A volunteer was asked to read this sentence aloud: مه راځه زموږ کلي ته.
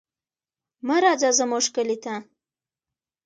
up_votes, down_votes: 1, 2